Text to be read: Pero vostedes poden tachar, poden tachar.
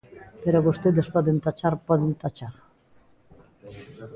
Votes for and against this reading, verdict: 2, 0, accepted